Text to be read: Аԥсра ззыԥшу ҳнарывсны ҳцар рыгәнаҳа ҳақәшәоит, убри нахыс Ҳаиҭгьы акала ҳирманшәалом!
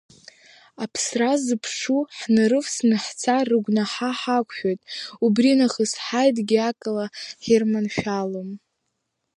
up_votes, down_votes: 0, 2